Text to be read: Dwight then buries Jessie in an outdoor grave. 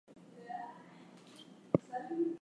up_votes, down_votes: 0, 4